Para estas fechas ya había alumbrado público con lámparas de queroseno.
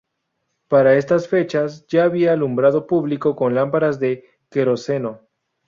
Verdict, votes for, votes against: accepted, 2, 0